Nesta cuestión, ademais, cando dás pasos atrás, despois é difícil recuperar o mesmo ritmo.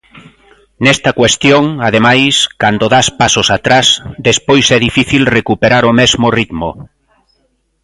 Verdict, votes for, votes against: accepted, 3, 0